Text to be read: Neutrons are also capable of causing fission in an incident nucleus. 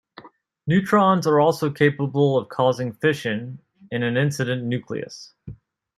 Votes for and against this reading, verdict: 2, 0, accepted